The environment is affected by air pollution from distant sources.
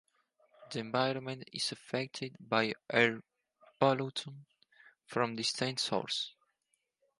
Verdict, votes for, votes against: rejected, 0, 4